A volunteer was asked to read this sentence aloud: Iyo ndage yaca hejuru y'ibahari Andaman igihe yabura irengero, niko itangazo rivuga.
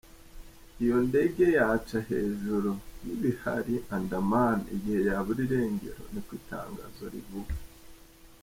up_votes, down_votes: 1, 2